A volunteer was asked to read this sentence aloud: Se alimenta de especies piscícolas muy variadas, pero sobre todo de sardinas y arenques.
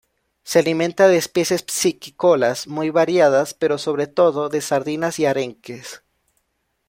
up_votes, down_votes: 1, 2